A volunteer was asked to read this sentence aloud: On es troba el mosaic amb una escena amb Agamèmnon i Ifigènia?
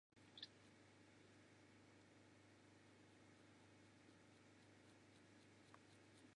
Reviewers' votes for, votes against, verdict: 0, 2, rejected